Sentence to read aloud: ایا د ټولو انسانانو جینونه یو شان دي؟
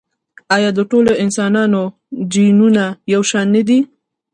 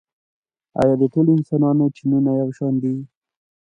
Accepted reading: second